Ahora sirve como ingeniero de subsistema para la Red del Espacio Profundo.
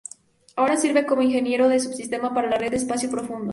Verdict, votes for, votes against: rejected, 0, 2